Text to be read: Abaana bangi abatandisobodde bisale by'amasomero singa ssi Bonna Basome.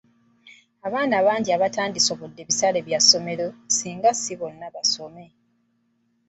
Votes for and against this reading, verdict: 0, 2, rejected